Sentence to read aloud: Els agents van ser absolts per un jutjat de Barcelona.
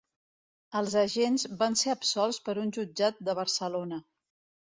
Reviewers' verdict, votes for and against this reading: accepted, 2, 0